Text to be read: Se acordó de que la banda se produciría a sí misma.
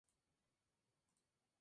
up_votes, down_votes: 0, 2